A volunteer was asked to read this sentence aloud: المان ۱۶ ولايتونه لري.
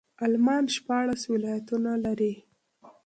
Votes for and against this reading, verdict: 0, 2, rejected